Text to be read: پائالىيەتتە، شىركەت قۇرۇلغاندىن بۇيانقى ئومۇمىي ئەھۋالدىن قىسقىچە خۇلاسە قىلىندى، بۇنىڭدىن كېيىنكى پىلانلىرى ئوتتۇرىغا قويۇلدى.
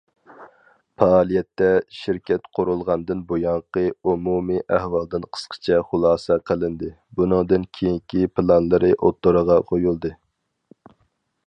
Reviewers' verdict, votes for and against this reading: accepted, 4, 0